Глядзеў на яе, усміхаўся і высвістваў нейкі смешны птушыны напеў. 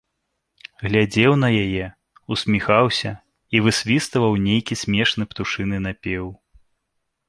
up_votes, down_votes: 2, 0